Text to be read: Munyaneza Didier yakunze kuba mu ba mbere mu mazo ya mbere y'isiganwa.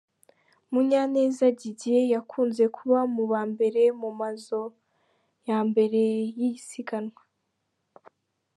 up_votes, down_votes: 2, 0